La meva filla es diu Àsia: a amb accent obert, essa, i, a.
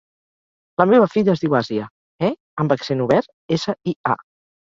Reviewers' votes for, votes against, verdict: 0, 2, rejected